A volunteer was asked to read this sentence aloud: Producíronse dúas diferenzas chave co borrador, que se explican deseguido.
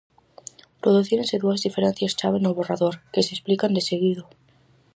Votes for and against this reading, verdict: 2, 2, rejected